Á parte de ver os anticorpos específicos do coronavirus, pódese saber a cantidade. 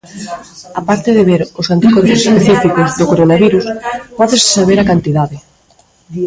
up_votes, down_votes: 1, 2